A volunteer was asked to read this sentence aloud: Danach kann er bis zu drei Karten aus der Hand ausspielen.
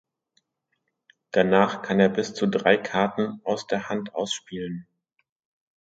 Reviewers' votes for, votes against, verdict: 2, 0, accepted